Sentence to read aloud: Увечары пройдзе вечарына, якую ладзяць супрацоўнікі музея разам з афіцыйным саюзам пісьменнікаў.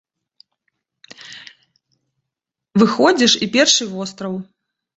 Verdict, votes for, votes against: rejected, 0, 2